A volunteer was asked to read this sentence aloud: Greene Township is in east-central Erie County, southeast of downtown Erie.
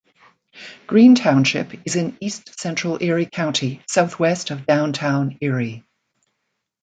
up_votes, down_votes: 1, 2